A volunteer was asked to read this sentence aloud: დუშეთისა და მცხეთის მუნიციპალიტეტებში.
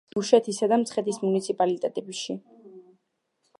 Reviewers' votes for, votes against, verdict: 2, 0, accepted